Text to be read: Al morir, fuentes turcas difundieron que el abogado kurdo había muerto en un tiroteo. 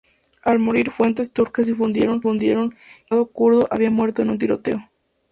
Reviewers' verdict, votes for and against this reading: rejected, 0, 2